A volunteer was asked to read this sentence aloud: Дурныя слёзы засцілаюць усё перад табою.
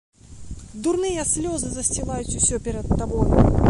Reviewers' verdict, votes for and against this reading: rejected, 1, 2